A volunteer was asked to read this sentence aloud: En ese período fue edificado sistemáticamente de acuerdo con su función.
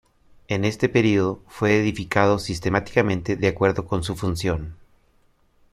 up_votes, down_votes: 0, 2